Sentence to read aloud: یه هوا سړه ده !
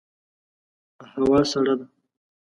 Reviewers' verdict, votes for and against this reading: rejected, 0, 2